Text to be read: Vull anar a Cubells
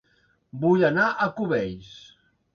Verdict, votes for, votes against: accepted, 3, 0